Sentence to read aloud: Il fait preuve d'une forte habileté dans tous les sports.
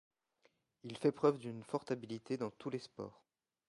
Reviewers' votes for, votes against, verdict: 1, 2, rejected